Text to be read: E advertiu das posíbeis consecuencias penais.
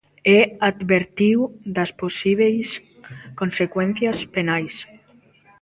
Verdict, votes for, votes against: rejected, 1, 2